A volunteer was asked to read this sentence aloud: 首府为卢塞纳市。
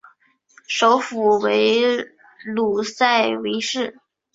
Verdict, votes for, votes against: rejected, 0, 2